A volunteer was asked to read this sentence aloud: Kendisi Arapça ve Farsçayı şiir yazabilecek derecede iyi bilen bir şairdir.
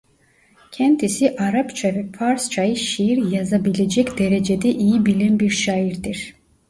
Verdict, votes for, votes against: accepted, 2, 0